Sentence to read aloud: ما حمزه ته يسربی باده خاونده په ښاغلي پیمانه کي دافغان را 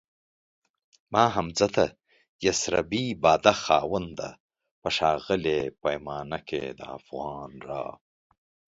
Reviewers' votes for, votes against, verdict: 2, 0, accepted